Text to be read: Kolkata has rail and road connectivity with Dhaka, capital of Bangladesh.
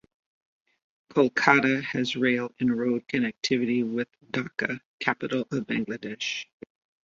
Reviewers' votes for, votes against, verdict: 2, 0, accepted